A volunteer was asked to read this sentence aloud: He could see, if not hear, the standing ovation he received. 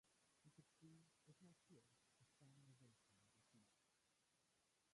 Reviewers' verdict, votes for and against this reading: rejected, 0, 2